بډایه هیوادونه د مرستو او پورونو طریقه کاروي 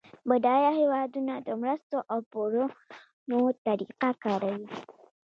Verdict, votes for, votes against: rejected, 1, 2